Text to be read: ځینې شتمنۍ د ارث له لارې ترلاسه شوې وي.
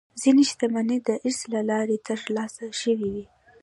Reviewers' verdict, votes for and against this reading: accepted, 2, 1